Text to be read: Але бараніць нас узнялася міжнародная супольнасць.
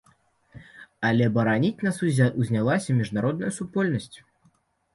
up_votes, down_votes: 1, 2